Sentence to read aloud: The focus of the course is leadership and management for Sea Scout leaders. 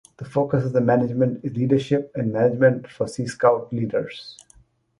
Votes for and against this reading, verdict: 0, 2, rejected